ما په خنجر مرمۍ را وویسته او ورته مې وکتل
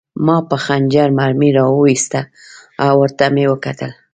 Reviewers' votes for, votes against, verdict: 2, 0, accepted